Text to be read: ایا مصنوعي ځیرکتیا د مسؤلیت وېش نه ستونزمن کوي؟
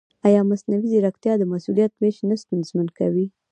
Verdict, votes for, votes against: rejected, 1, 2